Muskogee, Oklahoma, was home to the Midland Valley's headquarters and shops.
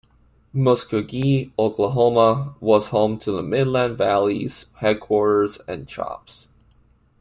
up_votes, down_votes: 2, 1